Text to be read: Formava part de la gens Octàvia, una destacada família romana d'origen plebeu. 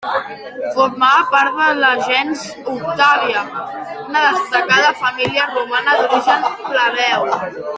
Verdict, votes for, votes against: rejected, 1, 2